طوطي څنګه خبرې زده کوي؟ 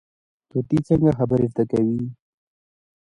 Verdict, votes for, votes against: accepted, 2, 0